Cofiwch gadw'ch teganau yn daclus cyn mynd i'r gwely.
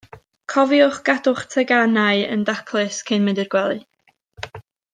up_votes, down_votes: 2, 0